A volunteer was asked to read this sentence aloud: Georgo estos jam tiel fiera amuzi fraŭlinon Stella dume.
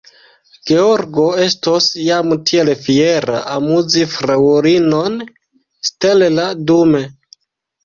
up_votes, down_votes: 1, 2